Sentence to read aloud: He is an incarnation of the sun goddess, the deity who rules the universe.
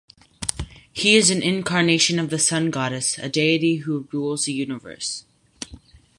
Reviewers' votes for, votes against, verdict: 0, 4, rejected